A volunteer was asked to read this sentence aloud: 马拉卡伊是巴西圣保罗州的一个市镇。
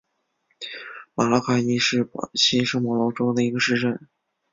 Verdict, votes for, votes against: accepted, 7, 0